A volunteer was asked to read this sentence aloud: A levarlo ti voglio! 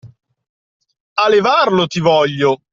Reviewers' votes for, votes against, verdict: 2, 0, accepted